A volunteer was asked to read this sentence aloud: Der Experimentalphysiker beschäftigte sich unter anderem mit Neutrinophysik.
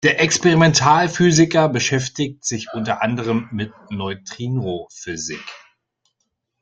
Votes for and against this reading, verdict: 0, 2, rejected